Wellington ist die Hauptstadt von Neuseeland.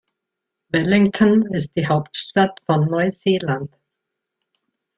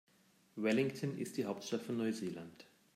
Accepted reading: second